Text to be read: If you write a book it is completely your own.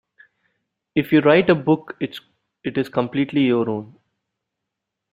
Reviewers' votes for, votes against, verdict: 0, 2, rejected